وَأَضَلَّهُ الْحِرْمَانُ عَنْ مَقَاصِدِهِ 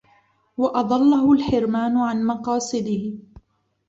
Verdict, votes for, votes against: accepted, 2, 1